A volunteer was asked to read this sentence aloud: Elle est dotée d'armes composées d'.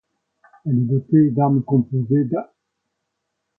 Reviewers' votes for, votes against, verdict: 2, 1, accepted